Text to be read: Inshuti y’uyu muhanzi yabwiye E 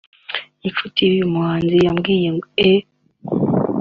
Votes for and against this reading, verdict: 2, 1, accepted